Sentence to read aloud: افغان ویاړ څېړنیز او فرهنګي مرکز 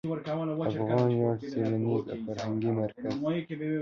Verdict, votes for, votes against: rejected, 0, 2